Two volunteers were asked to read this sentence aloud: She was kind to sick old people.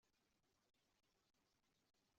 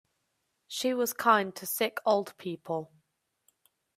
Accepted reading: second